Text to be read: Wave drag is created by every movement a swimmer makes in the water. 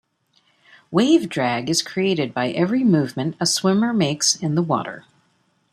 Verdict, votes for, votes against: accepted, 2, 0